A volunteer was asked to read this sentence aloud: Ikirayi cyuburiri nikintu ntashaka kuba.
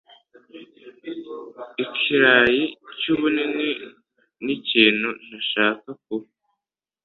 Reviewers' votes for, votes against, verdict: 2, 0, accepted